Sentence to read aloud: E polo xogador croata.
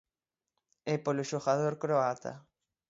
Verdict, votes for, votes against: accepted, 6, 0